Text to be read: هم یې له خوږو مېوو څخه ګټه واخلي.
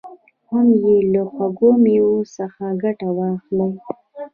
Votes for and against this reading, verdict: 1, 2, rejected